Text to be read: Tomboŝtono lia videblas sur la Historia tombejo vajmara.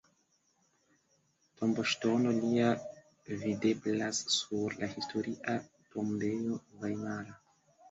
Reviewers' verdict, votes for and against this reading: accepted, 2, 1